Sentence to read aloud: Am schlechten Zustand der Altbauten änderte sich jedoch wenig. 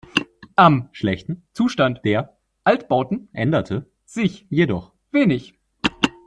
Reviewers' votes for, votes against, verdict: 0, 2, rejected